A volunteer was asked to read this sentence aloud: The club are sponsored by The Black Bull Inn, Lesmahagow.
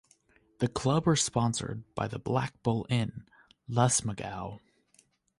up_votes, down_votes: 0, 2